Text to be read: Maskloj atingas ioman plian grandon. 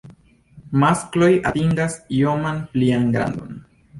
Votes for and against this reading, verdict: 2, 0, accepted